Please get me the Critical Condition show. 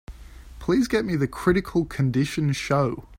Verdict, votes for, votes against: accepted, 2, 0